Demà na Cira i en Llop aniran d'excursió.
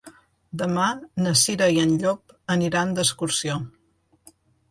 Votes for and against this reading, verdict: 2, 0, accepted